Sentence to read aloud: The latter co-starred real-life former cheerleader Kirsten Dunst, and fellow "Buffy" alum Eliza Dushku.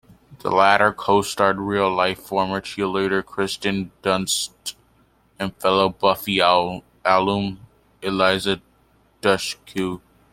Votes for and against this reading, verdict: 0, 2, rejected